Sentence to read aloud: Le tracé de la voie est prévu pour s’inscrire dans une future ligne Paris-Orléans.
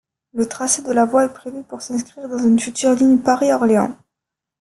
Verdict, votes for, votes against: rejected, 0, 2